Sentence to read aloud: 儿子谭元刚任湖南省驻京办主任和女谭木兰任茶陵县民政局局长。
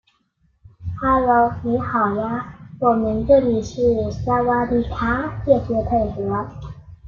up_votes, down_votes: 0, 2